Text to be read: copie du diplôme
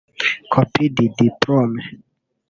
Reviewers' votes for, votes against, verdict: 0, 2, rejected